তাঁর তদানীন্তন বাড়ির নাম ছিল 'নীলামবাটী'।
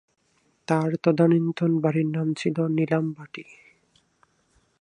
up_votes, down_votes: 2, 0